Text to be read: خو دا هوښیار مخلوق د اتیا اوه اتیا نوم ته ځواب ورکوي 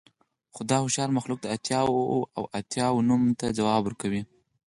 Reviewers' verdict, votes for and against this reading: rejected, 2, 4